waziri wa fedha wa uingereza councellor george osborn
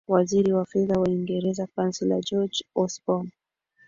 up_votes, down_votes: 3, 0